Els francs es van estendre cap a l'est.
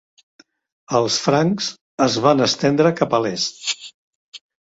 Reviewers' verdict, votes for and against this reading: accepted, 2, 0